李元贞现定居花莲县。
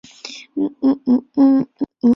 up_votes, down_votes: 0, 2